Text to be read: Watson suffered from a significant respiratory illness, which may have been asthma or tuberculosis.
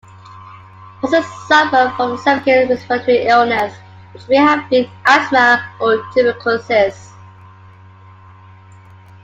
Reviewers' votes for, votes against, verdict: 0, 2, rejected